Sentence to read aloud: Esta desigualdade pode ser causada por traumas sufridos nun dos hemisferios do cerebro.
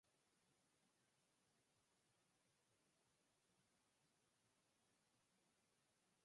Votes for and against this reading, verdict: 0, 4, rejected